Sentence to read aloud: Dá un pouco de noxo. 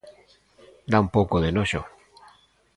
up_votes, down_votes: 2, 0